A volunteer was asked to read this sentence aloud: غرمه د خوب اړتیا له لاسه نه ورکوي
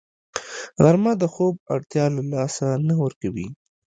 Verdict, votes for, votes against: accepted, 2, 0